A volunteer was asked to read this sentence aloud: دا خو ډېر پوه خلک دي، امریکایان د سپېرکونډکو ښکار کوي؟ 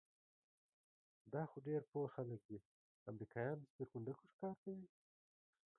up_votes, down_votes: 2, 0